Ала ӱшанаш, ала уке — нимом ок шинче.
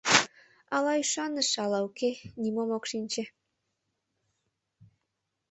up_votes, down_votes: 0, 2